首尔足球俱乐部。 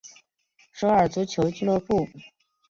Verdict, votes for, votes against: accepted, 5, 0